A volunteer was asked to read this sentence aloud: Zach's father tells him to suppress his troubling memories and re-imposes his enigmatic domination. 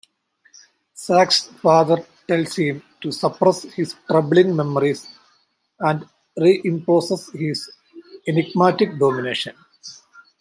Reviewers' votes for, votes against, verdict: 2, 0, accepted